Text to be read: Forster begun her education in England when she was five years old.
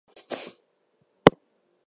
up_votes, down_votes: 0, 2